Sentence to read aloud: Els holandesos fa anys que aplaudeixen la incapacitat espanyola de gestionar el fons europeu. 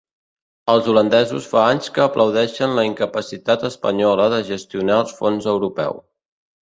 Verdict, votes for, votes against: rejected, 0, 3